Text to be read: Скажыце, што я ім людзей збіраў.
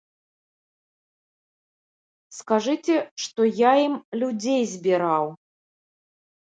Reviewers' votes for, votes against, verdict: 2, 1, accepted